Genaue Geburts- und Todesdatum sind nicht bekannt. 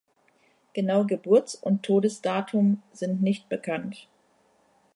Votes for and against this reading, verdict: 2, 0, accepted